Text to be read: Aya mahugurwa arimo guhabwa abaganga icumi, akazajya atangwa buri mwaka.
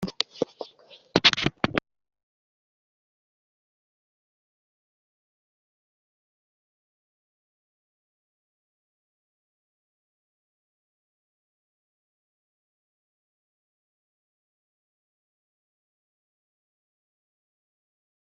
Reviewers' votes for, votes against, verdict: 0, 2, rejected